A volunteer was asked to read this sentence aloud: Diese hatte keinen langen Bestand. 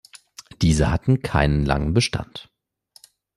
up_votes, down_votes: 0, 2